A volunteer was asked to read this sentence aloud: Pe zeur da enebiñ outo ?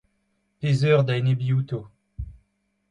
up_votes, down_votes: 2, 0